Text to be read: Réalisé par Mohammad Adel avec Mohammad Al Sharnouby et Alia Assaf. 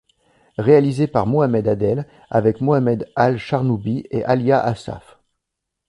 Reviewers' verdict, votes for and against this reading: rejected, 0, 2